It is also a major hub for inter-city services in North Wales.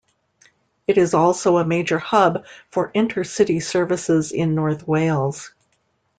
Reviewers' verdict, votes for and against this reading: accepted, 2, 0